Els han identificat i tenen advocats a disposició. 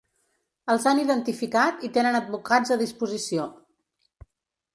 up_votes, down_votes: 3, 0